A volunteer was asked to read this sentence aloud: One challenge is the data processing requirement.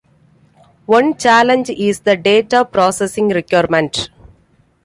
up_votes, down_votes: 2, 0